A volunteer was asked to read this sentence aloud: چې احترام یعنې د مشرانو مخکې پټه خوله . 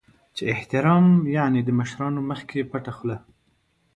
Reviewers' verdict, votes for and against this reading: accepted, 2, 0